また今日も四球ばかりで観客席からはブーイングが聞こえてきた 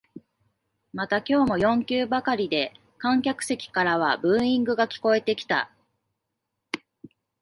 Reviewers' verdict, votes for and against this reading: accepted, 3, 1